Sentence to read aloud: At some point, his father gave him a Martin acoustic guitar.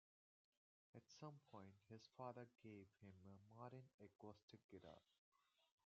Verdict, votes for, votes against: rejected, 0, 2